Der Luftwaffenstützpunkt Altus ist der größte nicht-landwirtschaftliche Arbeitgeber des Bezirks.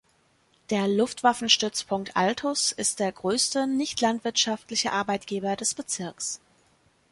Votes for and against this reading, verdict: 3, 0, accepted